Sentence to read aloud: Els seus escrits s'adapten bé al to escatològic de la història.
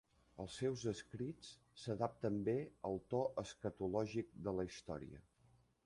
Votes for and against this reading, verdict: 0, 2, rejected